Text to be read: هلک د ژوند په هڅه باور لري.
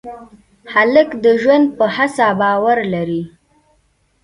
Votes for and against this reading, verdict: 2, 0, accepted